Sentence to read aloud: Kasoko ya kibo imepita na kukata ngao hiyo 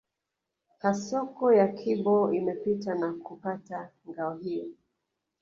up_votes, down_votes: 1, 2